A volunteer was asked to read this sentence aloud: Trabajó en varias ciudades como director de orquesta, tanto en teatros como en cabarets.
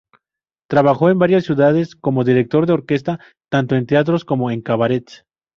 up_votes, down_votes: 2, 0